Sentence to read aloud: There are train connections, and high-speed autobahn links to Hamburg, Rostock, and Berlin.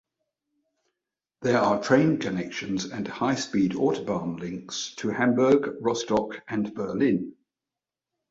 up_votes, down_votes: 2, 0